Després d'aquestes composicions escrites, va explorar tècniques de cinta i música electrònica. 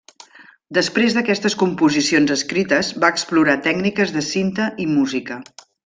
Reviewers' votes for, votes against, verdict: 0, 2, rejected